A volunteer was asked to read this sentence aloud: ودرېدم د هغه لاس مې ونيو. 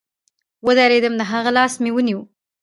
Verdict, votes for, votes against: rejected, 1, 2